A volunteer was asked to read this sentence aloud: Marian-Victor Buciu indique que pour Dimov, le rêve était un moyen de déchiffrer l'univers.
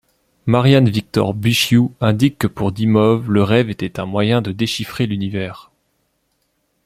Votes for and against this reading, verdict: 2, 0, accepted